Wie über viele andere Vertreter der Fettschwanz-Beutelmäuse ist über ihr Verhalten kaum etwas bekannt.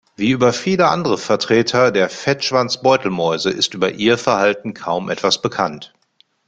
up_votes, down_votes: 2, 0